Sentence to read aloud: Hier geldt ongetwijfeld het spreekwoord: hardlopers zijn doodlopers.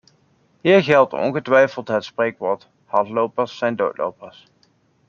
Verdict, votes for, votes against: accepted, 2, 0